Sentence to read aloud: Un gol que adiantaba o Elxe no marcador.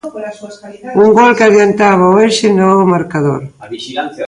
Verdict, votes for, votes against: rejected, 1, 2